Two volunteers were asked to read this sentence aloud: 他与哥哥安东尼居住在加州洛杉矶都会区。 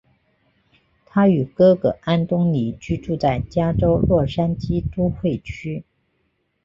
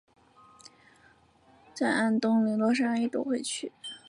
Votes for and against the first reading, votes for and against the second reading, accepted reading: 2, 0, 1, 2, first